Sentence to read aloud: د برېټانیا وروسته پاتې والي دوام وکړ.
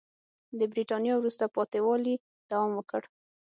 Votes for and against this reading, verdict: 6, 0, accepted